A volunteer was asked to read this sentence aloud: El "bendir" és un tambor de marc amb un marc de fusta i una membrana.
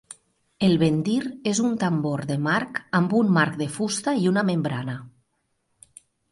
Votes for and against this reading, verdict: 2, 0, accepted